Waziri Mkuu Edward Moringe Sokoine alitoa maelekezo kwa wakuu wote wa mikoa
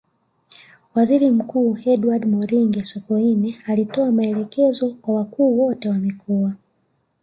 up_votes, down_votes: 2, 0